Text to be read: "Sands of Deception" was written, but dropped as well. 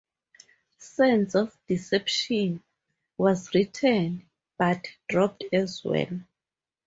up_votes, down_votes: 2, 0